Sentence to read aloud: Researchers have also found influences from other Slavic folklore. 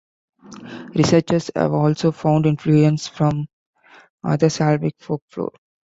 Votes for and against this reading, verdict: 0, 2, rejected